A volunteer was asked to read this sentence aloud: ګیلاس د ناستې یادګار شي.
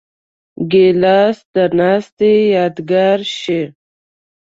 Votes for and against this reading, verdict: 2, 0, accepted